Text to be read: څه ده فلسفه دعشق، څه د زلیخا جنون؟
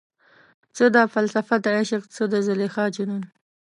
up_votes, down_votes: 2, 0